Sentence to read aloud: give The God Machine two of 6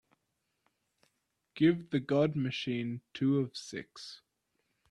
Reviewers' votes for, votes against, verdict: 0, 2, rejected